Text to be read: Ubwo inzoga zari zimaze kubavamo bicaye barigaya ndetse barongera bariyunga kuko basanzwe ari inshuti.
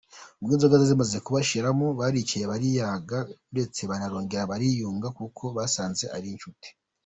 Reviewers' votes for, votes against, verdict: 1, 2, rejected